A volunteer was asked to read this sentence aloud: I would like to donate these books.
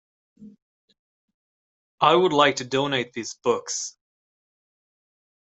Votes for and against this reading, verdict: 2, 0, accepted